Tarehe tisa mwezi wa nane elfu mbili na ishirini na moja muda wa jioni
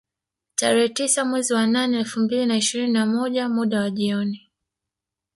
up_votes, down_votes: 3, 2